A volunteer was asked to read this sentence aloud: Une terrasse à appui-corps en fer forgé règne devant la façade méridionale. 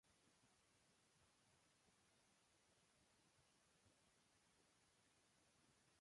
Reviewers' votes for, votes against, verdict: 0, 2, rejected